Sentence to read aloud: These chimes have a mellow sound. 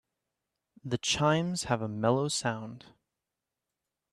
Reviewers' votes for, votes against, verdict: 0, 2, rejected